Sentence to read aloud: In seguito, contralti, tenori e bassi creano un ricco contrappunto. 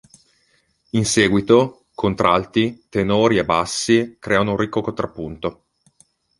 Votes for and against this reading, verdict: 2, 0, accepted